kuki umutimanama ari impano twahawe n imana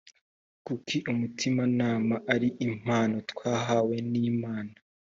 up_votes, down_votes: 4, 0